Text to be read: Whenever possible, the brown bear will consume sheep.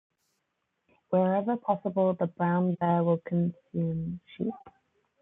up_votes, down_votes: 1, 2